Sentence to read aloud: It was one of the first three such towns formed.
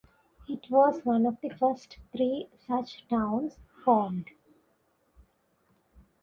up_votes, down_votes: 2, 0